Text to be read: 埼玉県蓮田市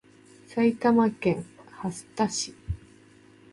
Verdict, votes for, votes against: accepted, 2, 0